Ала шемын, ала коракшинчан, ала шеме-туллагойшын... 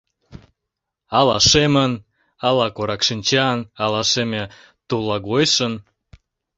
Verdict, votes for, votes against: accepted, 2, 1